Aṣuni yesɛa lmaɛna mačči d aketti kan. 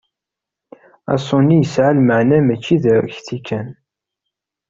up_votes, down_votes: 1, 2